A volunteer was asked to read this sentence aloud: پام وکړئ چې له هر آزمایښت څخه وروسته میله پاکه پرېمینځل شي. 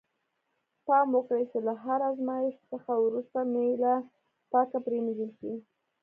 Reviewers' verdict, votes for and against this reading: accepted, 2, 0